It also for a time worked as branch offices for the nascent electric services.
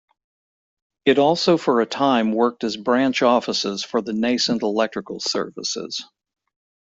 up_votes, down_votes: 0, 2